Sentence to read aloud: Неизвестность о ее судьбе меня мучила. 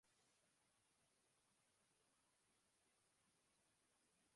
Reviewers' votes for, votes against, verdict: 0, 2, rejected